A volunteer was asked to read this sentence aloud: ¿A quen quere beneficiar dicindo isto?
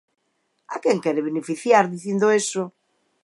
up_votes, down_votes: 2, 19